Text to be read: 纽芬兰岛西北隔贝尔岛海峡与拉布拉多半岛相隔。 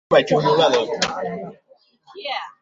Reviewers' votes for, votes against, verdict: 1, 4, rejected